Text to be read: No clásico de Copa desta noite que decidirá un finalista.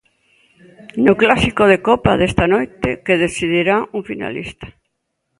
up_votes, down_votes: 2, 0